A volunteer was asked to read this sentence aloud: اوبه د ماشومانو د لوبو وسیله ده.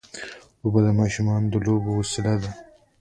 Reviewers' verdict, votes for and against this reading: accepted, 2, 0